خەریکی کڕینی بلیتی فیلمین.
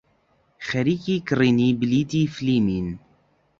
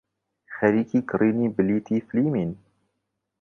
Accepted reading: second